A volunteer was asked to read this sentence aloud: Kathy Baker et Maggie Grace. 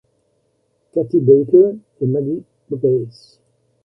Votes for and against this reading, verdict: 1, 2, rejected